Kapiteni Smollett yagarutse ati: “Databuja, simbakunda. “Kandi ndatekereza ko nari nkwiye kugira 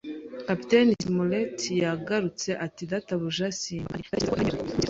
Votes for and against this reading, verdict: 0, 2, rejected